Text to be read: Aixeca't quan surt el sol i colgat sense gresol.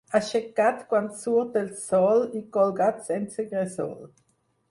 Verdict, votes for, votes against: rejected, 0, 4